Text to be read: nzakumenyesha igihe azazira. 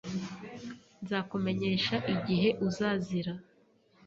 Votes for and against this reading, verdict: 0, 2, rejected